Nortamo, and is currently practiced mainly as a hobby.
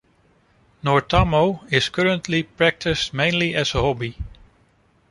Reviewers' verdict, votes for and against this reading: rejected, 1, 2